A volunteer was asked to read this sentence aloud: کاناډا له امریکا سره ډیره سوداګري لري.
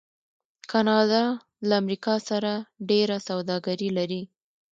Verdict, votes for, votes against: rejected, 1, 2